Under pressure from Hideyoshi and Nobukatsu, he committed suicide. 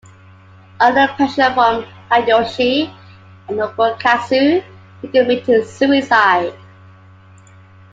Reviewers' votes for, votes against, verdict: 2, 1, accepted